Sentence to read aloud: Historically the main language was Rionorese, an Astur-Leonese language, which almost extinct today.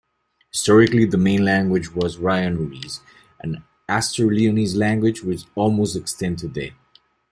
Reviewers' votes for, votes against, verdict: 2, 0, accepted